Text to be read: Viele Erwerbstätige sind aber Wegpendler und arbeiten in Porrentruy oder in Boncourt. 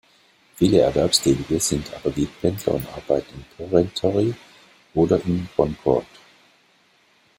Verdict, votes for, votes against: rejected, 0, 2